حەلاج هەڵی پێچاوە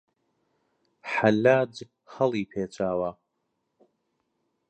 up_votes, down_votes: 2, 0